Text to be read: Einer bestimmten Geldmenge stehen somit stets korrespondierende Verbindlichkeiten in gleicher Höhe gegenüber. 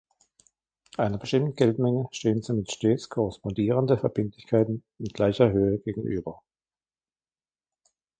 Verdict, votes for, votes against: rejected, 0, 2